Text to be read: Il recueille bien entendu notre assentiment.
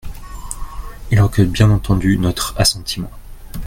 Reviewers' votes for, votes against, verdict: 2, 0, accepted